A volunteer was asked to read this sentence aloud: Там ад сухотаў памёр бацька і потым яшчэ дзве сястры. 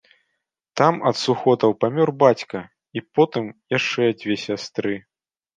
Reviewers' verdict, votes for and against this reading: accepted, 2, 0